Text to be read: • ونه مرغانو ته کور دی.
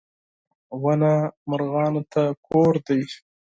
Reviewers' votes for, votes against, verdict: 4, 0, accepted